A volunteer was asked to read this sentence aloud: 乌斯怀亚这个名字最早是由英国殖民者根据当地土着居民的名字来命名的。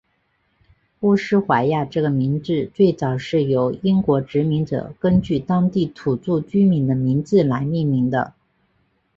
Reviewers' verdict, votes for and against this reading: accepted, 4, 0